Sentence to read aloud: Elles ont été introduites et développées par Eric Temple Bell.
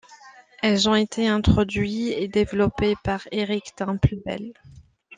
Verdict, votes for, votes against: rejected, 0, 2